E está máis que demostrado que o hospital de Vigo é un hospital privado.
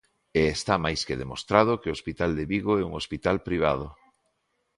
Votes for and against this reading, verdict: 2, 0, accepted